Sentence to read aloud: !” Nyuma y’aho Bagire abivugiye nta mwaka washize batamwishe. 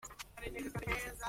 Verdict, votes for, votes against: rejected, 0, 2